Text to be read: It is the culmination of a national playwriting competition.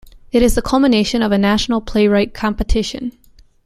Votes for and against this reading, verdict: 0, 2, rejected